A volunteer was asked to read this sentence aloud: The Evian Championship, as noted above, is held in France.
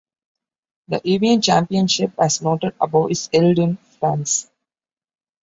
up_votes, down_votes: 2, 0